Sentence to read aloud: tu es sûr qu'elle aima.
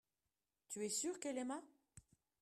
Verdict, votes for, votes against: accepted, 2, 1